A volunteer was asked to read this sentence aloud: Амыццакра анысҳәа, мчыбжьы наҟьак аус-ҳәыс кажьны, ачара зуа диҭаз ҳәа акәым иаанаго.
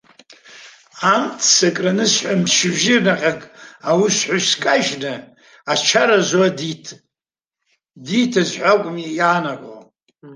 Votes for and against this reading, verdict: 0, 2, rejected